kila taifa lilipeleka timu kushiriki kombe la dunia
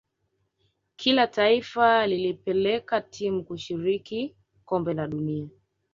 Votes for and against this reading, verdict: 3, 0, accepted